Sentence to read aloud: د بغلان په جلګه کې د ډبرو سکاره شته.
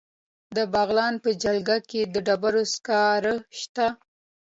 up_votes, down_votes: 2, 0